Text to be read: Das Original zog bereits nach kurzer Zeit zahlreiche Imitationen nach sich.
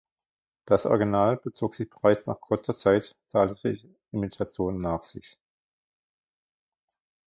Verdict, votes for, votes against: rejected, 0, 2